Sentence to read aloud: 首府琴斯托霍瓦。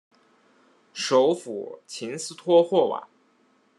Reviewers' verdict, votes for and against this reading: accepted, 2, 0